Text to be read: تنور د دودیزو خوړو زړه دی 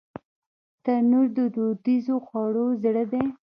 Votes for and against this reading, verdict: 1, 2, rejected